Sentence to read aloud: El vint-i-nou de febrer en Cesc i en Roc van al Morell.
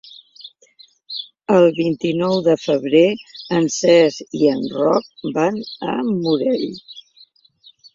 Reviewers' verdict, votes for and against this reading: rejected, 1, 2